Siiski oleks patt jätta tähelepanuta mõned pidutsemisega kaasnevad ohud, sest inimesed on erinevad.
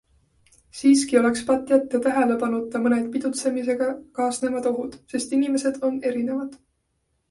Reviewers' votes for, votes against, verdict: 2, 0, accepted